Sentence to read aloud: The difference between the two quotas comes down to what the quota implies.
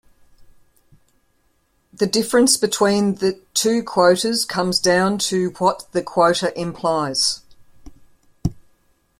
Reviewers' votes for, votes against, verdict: 2, 0, accepted